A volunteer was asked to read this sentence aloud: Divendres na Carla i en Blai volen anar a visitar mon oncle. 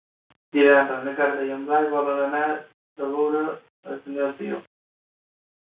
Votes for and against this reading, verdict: 0, 2, rejected